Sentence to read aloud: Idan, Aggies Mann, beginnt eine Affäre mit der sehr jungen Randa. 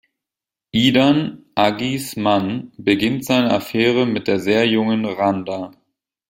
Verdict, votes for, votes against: rejected, 1, 2